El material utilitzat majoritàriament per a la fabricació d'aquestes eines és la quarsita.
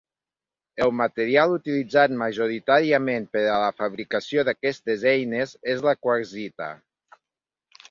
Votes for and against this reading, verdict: 3, 0, accepted